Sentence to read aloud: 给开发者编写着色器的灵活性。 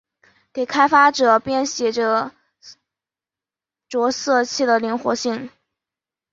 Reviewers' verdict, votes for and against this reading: rejected, 1, 2